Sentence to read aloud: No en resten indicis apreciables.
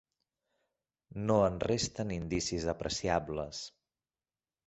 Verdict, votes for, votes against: accepted, 3, 0